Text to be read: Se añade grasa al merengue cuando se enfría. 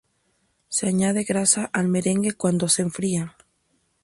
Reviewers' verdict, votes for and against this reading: accepted, 4, 0